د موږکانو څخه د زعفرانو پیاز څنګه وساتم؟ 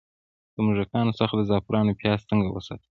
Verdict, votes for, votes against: rejected, 0, 2